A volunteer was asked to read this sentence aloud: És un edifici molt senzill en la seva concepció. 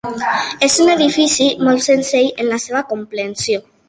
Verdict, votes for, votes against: rejected, 0, 2